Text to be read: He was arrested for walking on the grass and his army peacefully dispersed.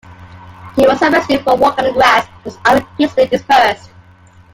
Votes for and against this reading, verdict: 2, 0, accepted